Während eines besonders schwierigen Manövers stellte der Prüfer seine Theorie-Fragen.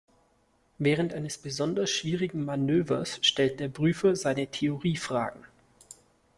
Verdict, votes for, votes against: rejected, 1, 2